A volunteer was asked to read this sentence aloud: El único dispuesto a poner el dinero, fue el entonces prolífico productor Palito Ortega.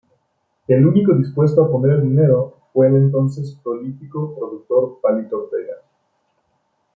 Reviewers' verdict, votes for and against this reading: accepted, 2, 0